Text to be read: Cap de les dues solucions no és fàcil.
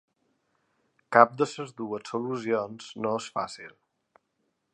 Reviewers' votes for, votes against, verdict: 0, 2, rejected